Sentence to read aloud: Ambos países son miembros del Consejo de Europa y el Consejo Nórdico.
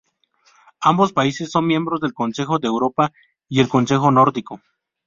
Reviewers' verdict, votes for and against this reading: accepted, 2, 0